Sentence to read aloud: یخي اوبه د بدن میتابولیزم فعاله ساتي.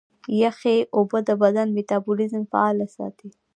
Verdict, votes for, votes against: accepted, 2, 0